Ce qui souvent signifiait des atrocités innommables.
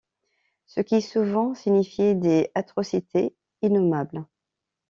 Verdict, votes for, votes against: accepted, 2, 0